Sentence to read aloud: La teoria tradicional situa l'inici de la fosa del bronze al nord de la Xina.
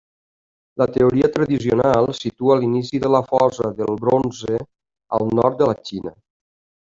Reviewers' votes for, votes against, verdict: 1, 2, rejected